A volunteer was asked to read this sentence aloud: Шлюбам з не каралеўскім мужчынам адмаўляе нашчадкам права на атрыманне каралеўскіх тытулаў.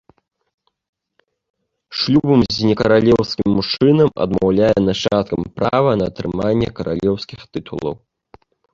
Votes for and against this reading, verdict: 1, 2, rejected